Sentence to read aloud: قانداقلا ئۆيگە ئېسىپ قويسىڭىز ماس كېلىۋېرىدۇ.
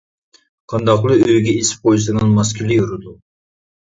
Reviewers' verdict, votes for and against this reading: rejected, 1, 2